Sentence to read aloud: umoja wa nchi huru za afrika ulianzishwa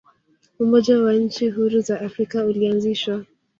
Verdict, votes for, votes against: rejected, 1, 2